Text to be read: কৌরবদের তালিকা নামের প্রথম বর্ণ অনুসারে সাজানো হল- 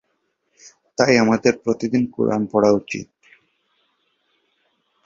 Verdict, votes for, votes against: rejected, 0, 2